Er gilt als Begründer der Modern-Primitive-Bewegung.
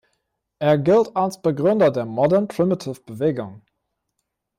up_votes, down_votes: 1, 2